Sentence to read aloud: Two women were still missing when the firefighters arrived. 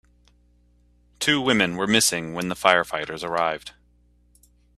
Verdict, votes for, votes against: rejected, 0, 2